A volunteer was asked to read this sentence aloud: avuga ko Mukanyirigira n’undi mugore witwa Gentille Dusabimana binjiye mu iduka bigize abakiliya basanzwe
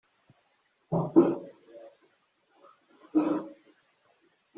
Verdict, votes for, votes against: rejected, 0, 3